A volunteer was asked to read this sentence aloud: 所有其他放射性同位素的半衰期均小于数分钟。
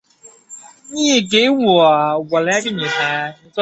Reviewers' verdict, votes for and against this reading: rejected, 2, 3